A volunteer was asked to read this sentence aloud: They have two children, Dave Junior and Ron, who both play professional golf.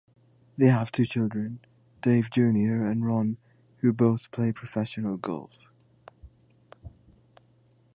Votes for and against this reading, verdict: 3, 0, accepted